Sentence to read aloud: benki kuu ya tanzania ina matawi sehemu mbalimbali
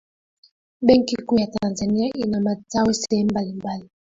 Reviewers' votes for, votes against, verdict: 1, 2, rejected